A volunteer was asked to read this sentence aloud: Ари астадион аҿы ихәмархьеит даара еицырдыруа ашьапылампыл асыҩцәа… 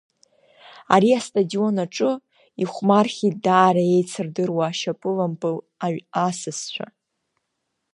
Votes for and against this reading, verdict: 0, 2, rejected